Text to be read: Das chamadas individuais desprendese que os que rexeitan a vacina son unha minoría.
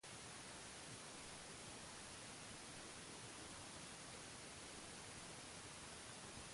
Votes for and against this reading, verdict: 0, 2, rejected